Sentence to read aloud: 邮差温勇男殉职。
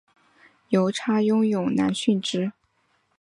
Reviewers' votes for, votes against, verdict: 2, 0, accepted